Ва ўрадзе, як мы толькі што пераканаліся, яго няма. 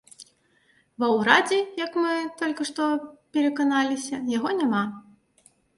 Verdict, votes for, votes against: rejected, 1, 2